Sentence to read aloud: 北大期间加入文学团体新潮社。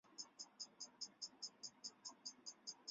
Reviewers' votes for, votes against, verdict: 0, 4, rejected